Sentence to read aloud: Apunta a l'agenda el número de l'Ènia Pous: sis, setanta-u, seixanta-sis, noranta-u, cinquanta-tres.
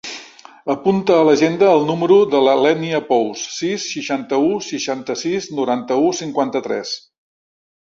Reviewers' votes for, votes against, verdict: 0, 2, rejected